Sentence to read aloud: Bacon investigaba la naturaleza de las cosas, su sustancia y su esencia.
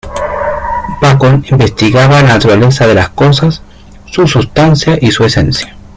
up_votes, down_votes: 0, 2